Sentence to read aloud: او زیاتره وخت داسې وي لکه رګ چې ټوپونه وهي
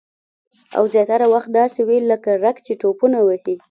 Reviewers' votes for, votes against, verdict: 2, 0, accepted